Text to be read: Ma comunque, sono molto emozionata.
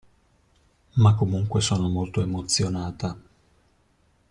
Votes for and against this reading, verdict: 2, 0, accepted